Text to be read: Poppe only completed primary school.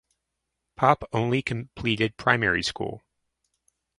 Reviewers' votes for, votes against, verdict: 2, 0, accepted